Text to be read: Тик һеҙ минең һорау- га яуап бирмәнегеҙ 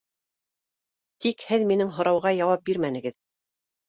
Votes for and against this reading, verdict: 2, 0, accepted